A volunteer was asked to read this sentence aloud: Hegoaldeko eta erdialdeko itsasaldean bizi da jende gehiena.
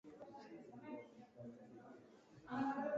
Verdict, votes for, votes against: rejected, 0, 2